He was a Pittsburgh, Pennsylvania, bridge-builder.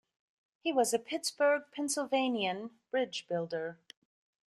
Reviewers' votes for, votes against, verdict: 0, 2, rejected